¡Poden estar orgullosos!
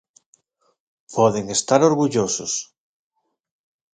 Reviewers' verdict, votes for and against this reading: accepted, 2, 0